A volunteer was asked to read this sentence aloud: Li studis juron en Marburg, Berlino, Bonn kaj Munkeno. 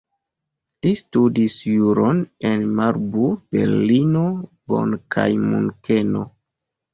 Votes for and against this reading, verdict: 3, 2, accepted